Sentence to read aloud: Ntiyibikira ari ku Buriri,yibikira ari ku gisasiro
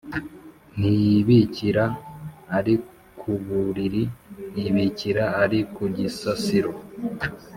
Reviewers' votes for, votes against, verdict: 2, 0, accepted